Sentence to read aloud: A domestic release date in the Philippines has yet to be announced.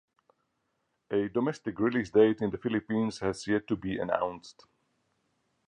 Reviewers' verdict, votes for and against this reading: accepted, 4, 0